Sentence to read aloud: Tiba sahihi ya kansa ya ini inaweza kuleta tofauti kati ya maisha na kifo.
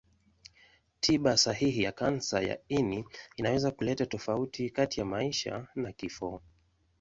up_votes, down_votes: 2, 0